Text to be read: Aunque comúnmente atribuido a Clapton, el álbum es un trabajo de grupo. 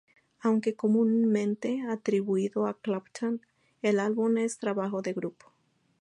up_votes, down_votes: 4, 2